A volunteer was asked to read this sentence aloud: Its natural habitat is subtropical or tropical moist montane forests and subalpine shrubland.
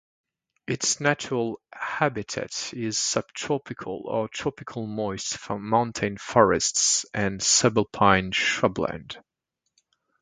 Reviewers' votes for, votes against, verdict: 0, 2, rejected